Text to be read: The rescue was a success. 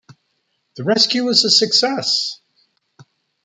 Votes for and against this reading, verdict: 2, 0, accepted